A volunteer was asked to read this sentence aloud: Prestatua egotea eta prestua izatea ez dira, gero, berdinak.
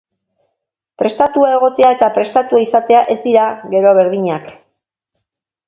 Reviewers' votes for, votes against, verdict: 0, 2, rejected